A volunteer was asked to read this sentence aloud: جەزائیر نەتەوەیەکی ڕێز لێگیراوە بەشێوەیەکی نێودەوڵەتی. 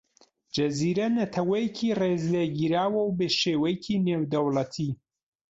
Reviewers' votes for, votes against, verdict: 0, 2, rejected